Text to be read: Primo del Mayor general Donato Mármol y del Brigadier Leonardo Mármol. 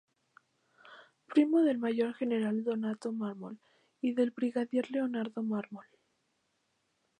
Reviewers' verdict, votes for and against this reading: rejected, 0, 2